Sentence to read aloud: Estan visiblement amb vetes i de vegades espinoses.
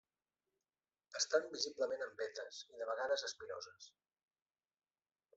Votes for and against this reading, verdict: 1, 2, rejected